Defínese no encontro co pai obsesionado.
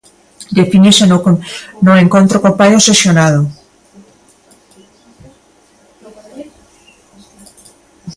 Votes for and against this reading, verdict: 0, 2, rejected